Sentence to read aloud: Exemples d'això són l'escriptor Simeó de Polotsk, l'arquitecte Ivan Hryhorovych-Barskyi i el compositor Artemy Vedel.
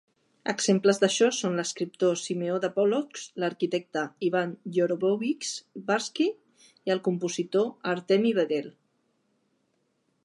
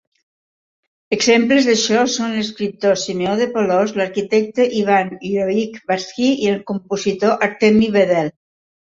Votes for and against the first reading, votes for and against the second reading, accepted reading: 1, 2, 3, 0, second